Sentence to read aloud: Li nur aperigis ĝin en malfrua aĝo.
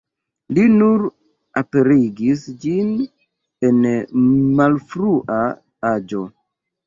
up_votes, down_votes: 2, 1